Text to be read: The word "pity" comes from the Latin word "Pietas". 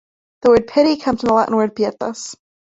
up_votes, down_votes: 3, 2